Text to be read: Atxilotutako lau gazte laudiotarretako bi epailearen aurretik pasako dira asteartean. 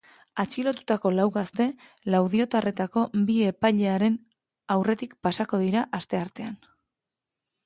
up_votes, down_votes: 2, 0